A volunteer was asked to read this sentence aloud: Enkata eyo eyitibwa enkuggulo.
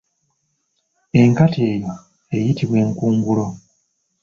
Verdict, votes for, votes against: rejected, 1, 2